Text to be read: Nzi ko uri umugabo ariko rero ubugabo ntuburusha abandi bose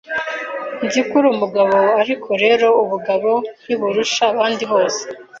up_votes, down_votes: 2, 0